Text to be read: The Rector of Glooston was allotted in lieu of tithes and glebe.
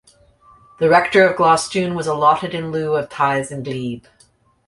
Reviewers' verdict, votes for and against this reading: rejected, 1, 2